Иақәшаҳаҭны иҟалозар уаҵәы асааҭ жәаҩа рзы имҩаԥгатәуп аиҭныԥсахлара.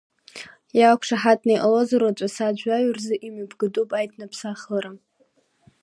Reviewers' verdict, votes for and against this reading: accepted, 2, 0